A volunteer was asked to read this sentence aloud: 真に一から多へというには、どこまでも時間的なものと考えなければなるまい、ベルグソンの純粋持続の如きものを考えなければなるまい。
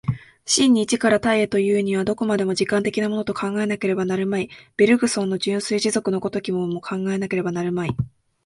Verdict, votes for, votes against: accepted, 2, 0